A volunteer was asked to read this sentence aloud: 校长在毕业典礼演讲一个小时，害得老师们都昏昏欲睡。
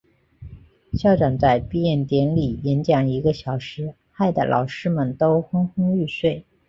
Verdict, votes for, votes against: accepted, 2, 0